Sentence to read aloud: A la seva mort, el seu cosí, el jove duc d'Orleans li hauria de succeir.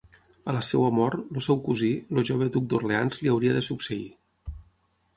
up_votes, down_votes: 6, 0